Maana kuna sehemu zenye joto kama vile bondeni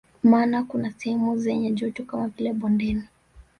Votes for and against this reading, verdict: 1, 2, rejected